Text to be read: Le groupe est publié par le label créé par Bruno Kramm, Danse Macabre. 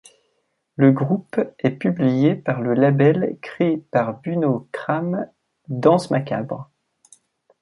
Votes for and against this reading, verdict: 1, 2, rejected